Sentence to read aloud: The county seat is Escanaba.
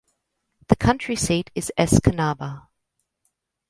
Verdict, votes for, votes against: rejected, 0, 2